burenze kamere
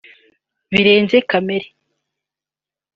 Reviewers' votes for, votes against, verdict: 0, 2, rejected